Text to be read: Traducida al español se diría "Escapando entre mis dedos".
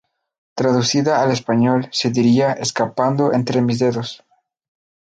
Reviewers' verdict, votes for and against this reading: accepted, 2, 0